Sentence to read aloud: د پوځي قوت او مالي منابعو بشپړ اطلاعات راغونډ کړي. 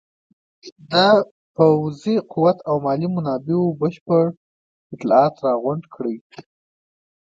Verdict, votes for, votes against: accepted, 2, 0